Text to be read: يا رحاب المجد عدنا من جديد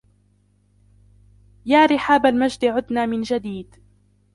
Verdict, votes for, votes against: accepted, 2, 1